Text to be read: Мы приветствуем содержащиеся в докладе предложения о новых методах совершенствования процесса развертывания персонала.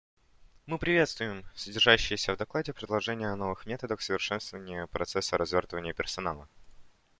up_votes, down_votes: 2, 0